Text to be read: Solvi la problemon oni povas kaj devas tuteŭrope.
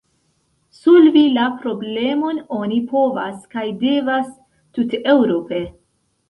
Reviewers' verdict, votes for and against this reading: accepted, 2, 0